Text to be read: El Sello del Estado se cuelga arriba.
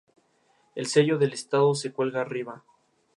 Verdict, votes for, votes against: rejected, 0, 2